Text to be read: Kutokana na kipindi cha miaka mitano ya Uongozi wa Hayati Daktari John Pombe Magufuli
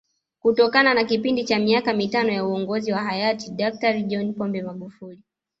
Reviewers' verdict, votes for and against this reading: accepted, 2, 0